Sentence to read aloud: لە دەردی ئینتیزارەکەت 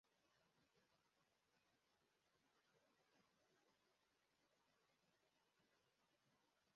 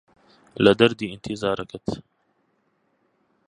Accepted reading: second